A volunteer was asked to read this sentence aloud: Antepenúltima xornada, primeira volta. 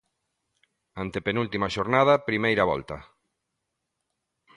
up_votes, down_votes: 2, 0